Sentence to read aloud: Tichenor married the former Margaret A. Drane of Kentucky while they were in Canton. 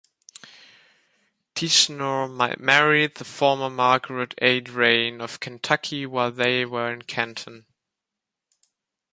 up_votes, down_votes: 1, 2